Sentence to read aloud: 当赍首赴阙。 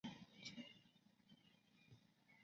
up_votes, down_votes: 0, 2